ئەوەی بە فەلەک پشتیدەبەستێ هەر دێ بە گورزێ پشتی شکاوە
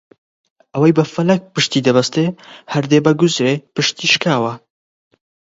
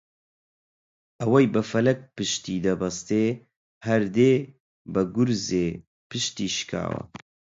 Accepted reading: second